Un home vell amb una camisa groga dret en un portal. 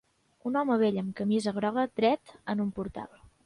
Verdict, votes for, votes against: rejected, 0, 2